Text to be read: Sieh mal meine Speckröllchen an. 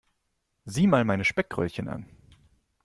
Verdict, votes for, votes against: accepted, 2, 0